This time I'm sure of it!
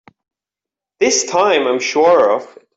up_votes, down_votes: 0, 4